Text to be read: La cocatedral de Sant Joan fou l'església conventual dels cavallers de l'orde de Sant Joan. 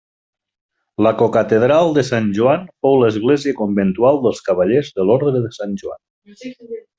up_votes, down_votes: 2, 1